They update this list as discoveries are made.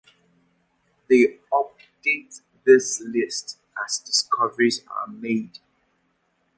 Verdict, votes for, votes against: accepted, 2, 0